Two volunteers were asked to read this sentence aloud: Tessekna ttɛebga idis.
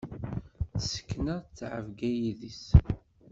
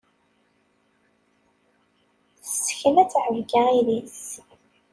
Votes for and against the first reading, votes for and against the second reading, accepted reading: 1, 2, 2, 0, second